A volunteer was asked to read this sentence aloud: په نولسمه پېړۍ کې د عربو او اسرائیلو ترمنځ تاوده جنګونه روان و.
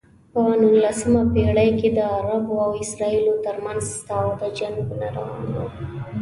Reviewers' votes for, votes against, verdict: 2, 0, accepted